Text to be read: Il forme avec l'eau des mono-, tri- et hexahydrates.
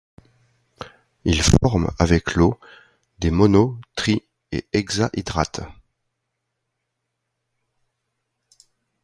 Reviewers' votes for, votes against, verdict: 1, 2, rejected